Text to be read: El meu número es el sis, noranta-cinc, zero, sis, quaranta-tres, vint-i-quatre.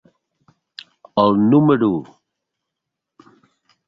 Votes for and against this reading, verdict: 0, 2, rejected